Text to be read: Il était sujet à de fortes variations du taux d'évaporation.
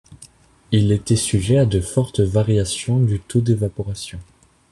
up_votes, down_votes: 2, 0